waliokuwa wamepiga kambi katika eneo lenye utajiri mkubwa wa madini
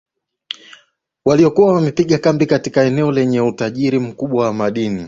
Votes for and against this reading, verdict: 2, 0, accepted